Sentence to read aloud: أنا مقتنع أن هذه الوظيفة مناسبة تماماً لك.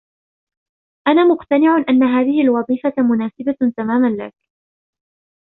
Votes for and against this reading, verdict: 2, 0, accepted